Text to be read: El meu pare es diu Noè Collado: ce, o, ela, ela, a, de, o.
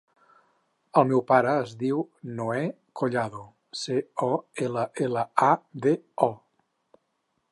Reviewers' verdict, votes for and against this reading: accepted, 6, 0